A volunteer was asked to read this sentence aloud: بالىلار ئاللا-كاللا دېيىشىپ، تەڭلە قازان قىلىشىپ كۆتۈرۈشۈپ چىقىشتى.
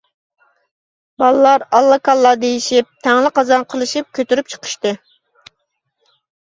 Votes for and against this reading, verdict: 1, 2, rejected